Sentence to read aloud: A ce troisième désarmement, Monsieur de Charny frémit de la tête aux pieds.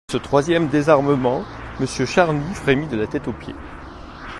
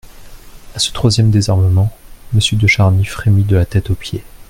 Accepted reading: second